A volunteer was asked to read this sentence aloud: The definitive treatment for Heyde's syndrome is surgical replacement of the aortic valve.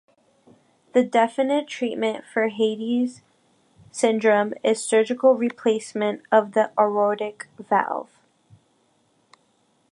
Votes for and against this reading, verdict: 0, 2, rejected